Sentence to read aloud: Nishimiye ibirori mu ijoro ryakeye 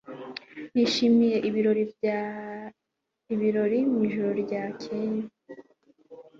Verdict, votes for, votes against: rejected, 1, 2